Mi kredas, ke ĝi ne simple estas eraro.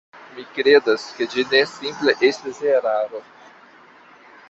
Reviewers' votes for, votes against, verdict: 1, 2, rejected